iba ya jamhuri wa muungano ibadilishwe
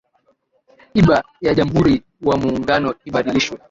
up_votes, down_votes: 2, 1